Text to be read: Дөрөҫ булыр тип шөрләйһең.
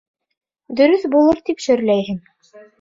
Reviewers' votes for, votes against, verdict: 2, 0, accepted